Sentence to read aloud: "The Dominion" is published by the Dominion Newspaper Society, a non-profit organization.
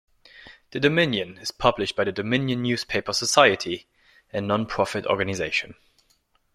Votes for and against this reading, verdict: 1, 2, rejected